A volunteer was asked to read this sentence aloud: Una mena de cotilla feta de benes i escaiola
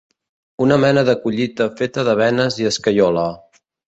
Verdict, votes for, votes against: rejected, 0, 2